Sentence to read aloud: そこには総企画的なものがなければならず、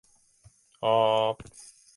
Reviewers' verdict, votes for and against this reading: rejected, 0, 2